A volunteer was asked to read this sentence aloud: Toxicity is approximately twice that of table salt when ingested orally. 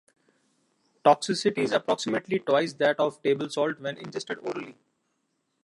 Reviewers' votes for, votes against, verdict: 2, 1, accepted